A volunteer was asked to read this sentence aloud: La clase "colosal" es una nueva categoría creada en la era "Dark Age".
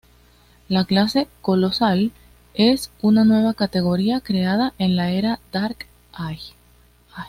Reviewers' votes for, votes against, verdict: 1, 2, rejected